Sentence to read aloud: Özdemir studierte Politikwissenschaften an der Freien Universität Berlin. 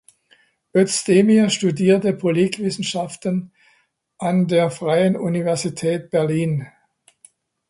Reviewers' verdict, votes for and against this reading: rejected, 0, 2